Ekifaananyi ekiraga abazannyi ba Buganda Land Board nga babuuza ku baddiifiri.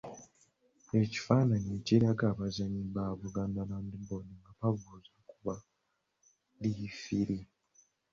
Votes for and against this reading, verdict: 2, 1, accepted